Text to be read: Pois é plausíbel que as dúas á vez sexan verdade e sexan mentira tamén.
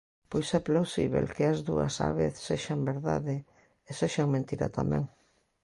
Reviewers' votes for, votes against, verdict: 2, 1, accepted